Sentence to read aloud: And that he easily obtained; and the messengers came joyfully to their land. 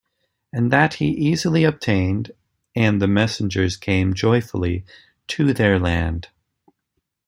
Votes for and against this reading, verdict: 2, 0, accepted